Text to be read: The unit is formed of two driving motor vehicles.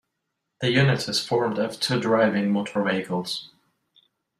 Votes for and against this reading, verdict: 2, 0, accepted